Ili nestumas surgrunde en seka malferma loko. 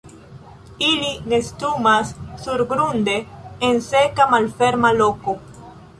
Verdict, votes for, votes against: accepted, 2, 0